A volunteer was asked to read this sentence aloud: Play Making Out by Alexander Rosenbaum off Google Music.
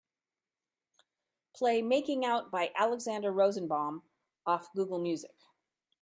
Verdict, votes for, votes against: accepted, 2, 0